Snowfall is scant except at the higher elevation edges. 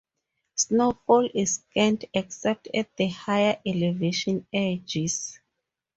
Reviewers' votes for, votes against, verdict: 4, 2, accepted